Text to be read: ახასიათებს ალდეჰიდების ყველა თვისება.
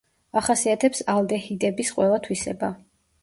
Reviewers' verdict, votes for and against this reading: accepted, 2, 1